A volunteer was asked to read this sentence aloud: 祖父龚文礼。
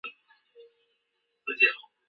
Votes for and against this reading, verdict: 0, 4, rejected